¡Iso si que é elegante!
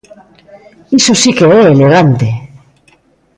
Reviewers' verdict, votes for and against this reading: rejected, 0, 2